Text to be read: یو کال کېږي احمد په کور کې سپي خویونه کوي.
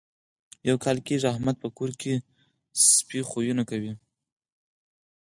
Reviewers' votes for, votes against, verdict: 6, 0, accepted